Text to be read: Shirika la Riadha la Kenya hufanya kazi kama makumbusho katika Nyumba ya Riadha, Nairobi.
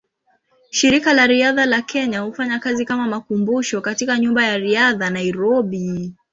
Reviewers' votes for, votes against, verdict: 2, 0, accepted